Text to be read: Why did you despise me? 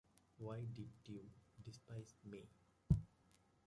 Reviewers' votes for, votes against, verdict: 0, 2, rejected